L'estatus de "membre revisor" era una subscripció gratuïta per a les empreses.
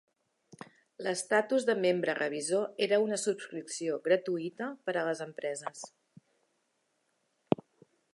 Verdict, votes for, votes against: accepted, 3, 0